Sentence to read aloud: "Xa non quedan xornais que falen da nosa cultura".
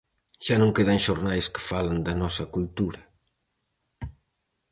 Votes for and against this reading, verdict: 4, 0, accepted